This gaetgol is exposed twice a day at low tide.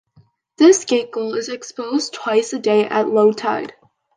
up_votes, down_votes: 2, 0